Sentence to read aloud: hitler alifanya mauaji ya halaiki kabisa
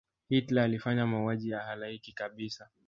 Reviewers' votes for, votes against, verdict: 0, 2, rejected